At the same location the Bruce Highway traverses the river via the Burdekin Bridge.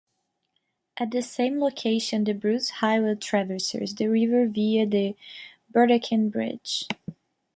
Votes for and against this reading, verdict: 0, 2, rejected